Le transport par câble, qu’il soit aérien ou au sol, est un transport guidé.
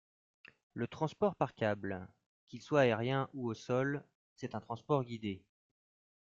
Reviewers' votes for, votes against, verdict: 0, 2, rejected